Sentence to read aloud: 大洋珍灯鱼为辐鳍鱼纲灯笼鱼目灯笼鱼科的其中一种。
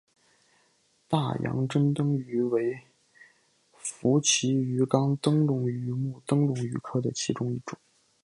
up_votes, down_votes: 2, 0